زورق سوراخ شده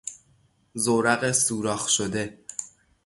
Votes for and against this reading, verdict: 3, 0, accepted